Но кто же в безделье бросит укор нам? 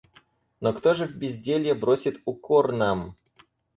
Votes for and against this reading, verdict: 4, 0, accepted